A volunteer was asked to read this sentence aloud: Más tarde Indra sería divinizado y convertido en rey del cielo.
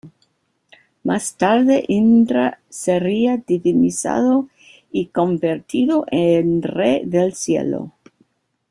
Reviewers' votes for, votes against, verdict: 1, 2, rejected